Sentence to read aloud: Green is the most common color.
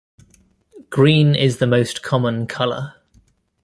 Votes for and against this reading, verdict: 1, 2, rejected